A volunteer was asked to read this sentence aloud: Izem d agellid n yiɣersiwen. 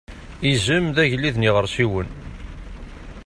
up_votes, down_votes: 2, 0